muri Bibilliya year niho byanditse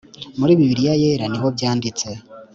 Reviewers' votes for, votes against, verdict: 2, 0, accepted